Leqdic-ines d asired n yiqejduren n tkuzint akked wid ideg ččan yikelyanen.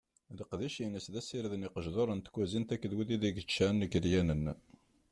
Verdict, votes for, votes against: rejected, 1, 2